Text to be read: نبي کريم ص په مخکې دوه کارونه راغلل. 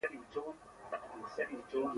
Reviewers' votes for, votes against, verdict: 0, 2, rejected